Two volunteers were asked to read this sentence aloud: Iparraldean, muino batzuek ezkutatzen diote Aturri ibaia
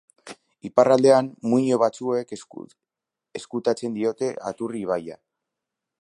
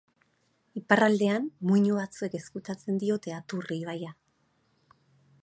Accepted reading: second